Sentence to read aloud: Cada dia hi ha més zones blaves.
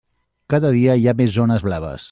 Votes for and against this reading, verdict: 3, 0, accepted